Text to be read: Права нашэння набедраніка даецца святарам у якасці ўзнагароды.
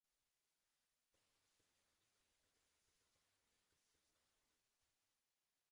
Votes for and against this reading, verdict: 0, 2, rejected